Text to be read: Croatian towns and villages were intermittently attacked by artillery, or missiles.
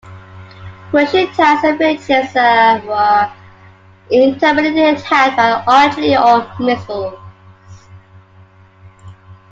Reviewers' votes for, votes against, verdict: 0, 2, rejected